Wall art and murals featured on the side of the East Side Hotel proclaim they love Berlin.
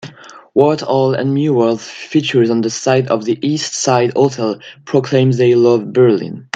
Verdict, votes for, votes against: rejected, 1, 2